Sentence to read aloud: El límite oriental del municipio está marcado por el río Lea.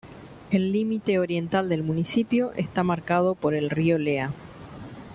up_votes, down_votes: 2, 0